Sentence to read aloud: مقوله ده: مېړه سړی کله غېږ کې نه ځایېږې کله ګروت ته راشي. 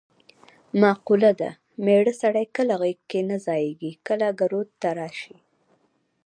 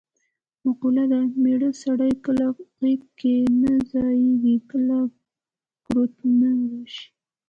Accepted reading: second